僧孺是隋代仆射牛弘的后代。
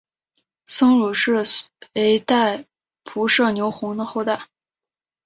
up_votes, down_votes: 5, 1